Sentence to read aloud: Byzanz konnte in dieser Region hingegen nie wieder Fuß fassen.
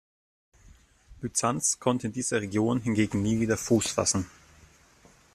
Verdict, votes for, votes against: accepted, 2, 0